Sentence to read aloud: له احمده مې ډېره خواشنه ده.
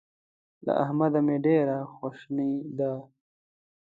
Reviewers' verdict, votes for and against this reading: rejected, 0, 2